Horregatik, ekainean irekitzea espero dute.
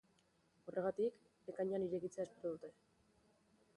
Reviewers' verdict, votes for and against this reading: accepted, 2, 0